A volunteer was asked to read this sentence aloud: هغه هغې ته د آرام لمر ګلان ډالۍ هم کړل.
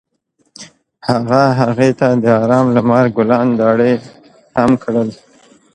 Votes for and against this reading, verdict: 1, 2, rejected